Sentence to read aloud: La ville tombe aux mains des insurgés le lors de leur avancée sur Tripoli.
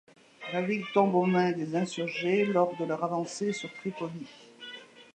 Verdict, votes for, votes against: rejected, 0, 2